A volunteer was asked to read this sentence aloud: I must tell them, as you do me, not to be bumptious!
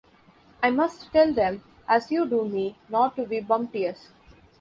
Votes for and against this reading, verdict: 0, 2, rejected